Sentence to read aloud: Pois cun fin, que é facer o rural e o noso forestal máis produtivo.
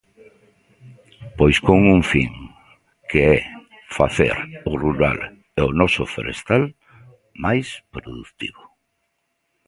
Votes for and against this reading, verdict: 0, 2, rejected